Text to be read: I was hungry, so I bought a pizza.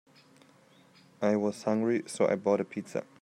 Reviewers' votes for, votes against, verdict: 2, 0, accepted